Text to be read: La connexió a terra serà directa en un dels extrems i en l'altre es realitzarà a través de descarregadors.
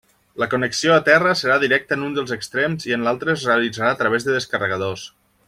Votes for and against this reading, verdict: 1, 2, rejected